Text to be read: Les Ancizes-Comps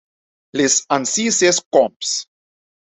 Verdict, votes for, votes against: rejected, 0, 2